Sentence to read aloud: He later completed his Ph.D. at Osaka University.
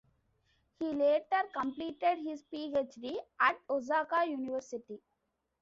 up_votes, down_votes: 1, 2